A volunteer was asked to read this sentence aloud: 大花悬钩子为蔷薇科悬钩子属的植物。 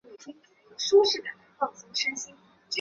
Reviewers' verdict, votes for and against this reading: rejected, 1, 2